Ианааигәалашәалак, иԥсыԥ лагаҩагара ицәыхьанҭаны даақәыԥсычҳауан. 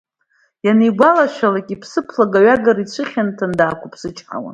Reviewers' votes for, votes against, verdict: 2, 0, accepted